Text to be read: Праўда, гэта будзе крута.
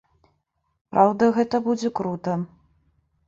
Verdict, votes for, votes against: accepted, 3, 0